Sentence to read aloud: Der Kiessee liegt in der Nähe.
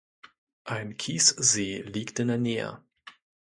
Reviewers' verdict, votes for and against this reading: rejected, 0, 2